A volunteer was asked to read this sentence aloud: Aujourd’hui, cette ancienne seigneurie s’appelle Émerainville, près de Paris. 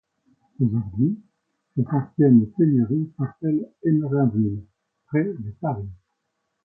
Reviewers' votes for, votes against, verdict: 1, 2, rejected